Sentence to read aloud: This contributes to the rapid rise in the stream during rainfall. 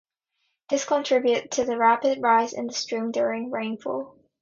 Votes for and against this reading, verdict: 2, 0, accepted